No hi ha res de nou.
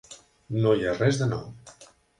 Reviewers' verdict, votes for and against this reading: accepted, 5, 0